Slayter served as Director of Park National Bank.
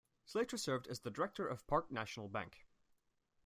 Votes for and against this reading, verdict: 2, 0, accepted